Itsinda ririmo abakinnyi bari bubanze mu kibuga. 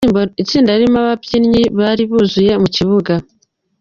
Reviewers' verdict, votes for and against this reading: rejected, 1, 2